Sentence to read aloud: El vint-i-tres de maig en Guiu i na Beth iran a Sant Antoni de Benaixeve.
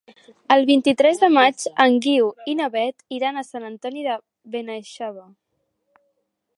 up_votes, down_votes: 2, 0